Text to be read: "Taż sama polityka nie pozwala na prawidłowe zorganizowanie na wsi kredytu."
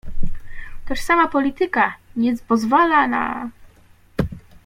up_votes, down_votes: 0, 2